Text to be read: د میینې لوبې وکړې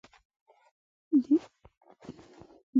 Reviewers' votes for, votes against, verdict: 0, 2, rejected